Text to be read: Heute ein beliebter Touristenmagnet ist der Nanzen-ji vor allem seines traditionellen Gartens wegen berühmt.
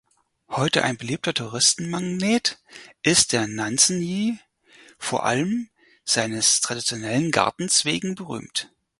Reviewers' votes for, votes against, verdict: 4, 2, accepted